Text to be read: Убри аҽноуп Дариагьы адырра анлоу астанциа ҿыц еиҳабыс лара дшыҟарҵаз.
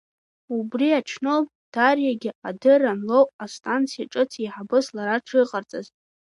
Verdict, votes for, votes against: rejected, 1, 2